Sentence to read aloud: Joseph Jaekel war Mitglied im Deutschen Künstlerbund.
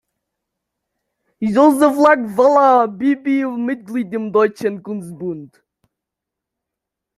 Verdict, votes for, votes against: rejected, 0, 2